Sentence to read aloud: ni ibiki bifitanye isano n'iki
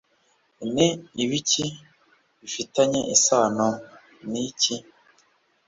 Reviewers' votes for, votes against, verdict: 2, 0, accepted